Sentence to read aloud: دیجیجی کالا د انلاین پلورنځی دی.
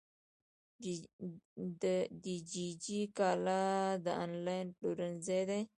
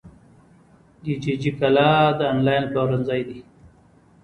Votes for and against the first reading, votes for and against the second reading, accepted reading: 0, 2, 2, 0, second